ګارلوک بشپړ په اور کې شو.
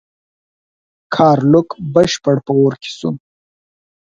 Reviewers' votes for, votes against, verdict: 2, 4, rejected